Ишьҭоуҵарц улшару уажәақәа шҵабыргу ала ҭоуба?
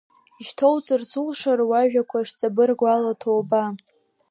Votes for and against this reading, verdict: 2, 0, accepted